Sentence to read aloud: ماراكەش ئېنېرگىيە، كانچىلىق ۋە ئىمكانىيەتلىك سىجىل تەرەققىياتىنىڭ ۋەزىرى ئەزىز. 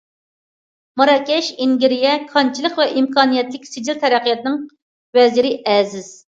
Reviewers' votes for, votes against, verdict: 0, 2, rejected